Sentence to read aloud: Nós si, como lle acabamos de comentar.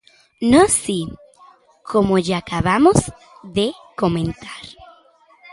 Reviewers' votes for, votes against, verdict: 2, 0, accepted